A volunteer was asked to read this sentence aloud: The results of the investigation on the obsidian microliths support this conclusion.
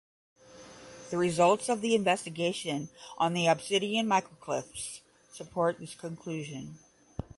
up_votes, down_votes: 5, 5